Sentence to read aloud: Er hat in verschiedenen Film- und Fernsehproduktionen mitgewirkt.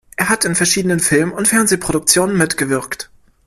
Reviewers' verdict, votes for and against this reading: accepted, 2, 0